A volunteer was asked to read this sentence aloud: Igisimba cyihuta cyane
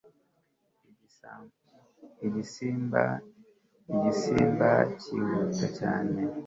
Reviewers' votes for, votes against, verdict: 1, 2, rejected